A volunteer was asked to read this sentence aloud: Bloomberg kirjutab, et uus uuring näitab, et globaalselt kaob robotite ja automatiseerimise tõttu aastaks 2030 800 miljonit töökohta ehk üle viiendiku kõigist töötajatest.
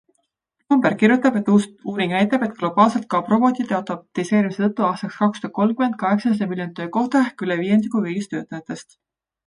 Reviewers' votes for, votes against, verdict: 0, 2, rejected